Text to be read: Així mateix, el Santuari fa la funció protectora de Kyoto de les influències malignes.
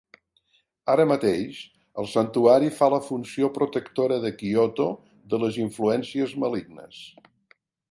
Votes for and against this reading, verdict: 0, 2, rejected